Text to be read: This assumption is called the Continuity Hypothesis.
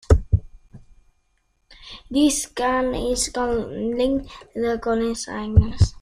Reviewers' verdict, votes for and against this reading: rejected, 0, 2